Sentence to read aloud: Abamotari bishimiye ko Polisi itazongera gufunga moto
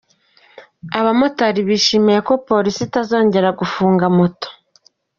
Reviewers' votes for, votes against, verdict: 1, 2, rejected